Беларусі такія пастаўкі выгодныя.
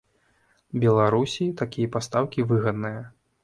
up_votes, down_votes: 0, 2